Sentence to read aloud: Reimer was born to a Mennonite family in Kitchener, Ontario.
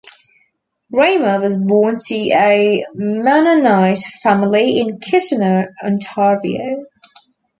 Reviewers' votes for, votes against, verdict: 2, 0, accepted